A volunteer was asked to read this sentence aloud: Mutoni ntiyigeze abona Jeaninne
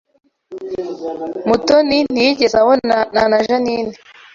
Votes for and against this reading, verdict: 0, 2, rejected